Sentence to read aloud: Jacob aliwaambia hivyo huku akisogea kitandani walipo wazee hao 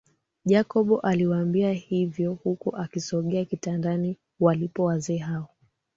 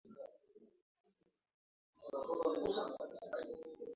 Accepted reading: first